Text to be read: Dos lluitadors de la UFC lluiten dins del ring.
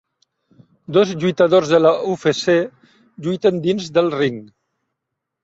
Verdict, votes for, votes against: rejected, 1, 2